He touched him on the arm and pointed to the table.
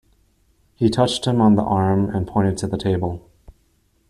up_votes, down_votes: 2, 0